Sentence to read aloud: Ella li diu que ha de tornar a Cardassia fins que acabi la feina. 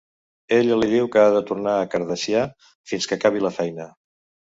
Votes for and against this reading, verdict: 0, 2, rejected